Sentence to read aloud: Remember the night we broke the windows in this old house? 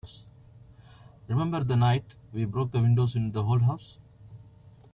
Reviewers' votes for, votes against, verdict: 1, 2, rejected